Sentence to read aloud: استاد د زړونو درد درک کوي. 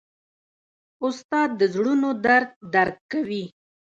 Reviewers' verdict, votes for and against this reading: accepted, 2, 0